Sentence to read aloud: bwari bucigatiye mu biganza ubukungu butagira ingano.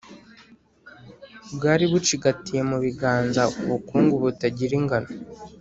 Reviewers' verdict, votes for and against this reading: accepted, 3, 0